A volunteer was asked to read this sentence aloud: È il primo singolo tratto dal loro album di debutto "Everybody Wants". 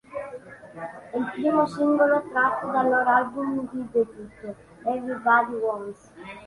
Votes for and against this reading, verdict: 2, 1, accepted